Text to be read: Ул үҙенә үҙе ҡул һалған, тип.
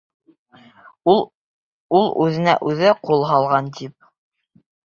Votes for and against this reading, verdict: 1, 2, rejected